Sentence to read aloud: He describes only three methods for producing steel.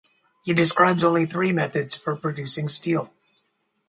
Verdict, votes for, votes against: rejected, 2, 2